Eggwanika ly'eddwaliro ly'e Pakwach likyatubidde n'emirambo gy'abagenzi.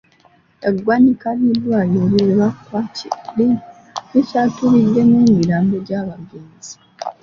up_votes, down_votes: 0, 2